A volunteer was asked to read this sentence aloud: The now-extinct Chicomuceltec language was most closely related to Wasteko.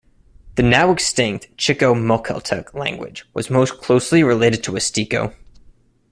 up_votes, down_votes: 2, 0